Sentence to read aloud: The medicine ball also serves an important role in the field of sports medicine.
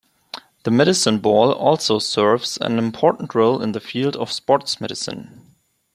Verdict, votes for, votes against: accepted, 2, 0